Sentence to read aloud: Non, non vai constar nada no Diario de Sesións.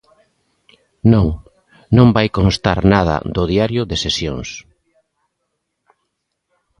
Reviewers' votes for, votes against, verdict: 0, 2, rejected